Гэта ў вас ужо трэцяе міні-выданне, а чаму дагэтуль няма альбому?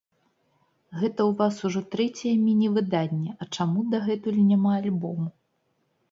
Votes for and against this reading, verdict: 2, 0, accepted